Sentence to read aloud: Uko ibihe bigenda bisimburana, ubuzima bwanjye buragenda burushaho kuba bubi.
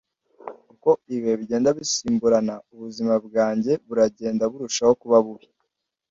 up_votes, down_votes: 2, 0